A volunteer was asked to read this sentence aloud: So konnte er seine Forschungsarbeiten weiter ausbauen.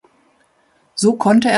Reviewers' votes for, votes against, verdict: 0, 2, rejected